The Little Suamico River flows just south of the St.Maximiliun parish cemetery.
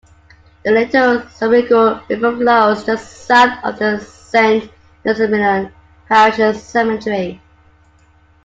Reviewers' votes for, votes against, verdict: 0, 2, rejected